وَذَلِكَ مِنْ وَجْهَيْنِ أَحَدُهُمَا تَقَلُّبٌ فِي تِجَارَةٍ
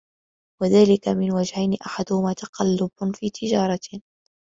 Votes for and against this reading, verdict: 2, 1, accepted